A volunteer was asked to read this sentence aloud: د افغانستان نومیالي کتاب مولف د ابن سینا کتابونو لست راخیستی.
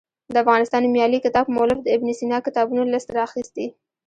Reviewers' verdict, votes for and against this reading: rejected, 1, 2